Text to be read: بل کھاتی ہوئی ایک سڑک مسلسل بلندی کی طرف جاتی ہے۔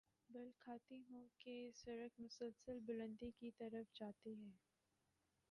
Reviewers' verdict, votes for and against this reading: rejected, 0, 3